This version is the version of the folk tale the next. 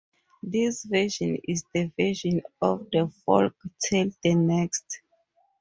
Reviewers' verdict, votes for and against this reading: accepted, 4, 0